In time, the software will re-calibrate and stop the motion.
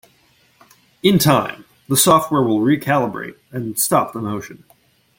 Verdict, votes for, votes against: accepted, 2, 1